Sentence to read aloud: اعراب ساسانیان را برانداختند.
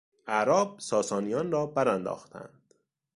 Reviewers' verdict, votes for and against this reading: accepted, 2, 0